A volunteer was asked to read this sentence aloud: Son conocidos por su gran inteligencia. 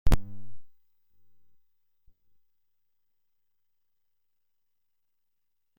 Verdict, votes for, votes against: rejected, 0, 2